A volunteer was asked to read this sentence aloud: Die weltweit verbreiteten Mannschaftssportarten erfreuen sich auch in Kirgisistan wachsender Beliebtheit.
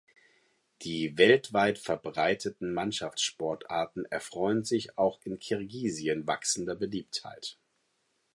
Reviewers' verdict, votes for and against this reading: rejected, 2, 4